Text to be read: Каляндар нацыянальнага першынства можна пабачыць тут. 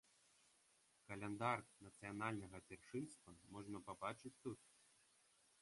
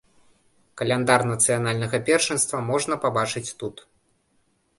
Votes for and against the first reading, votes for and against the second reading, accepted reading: 0, 2, 2, 0, second